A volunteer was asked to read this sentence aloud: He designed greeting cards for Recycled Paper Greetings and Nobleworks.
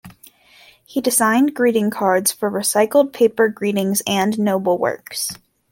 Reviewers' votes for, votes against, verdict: 2, 1, accepted